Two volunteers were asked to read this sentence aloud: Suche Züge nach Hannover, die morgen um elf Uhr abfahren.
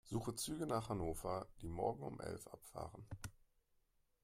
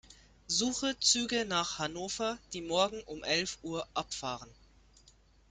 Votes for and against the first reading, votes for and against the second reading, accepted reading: 1, 2, 2, 0, second